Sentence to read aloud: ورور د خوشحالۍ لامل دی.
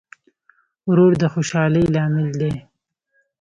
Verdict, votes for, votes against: accepted, 2, 0